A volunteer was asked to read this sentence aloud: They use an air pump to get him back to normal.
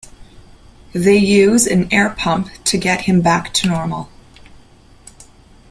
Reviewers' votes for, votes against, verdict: 2, 0, accepted